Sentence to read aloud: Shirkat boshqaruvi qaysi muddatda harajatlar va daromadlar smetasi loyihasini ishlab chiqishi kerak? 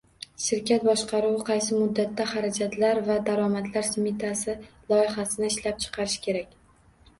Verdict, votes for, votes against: rejected, 1, 2